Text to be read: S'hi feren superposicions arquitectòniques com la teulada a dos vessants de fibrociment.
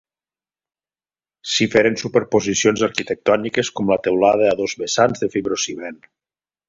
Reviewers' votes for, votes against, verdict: 2, 0, accepted